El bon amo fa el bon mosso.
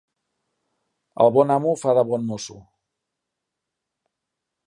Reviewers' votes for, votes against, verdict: 0, 2, rejected